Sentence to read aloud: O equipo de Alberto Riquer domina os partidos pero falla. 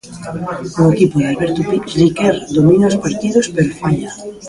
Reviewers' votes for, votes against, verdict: 0, 2, rejected